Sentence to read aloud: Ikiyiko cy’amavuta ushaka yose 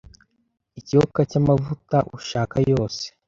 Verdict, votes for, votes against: rejected, 0, 2